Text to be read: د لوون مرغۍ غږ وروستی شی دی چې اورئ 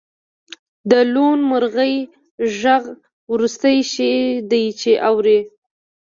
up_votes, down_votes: 2, 0